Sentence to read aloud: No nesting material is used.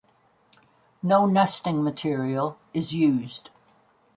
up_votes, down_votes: 2, 0